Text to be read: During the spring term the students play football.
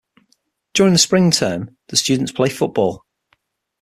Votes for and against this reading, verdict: 6, 0, accepted